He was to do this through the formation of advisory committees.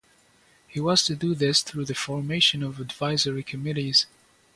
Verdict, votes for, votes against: accepted, 2, 0